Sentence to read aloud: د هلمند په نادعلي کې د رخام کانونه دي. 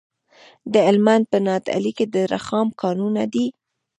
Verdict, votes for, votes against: accepted, 2, 1